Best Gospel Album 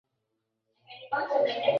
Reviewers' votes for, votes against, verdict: 0, 2, rejected